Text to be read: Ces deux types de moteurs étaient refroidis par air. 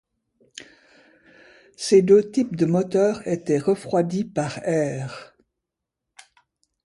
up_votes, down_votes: 2, 0